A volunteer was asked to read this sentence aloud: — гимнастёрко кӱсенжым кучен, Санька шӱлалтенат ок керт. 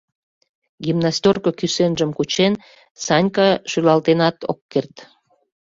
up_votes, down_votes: 3, 0